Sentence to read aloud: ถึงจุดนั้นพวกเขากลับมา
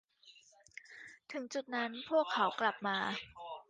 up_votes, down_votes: 2, 1